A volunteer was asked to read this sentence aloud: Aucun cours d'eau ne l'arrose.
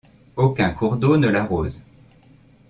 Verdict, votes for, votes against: accepted, 2, 0